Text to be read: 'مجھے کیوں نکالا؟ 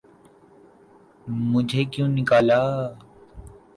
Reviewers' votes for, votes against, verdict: 2, 0, accepted